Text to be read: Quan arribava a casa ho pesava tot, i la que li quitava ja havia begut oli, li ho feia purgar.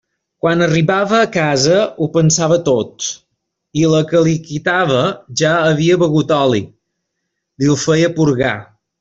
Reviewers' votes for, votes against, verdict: 0, 2, rejected